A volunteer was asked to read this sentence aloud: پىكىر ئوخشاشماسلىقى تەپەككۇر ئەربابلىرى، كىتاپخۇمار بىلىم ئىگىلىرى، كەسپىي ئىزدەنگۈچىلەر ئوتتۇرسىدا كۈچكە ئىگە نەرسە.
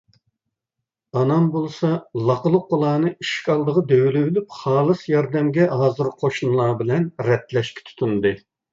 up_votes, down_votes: 0, 2